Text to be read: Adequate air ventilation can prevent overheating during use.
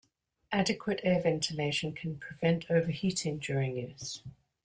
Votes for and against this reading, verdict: 2, 0, accepted